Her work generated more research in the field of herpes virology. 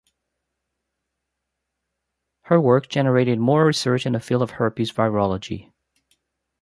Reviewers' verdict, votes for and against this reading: accepted, 2, 0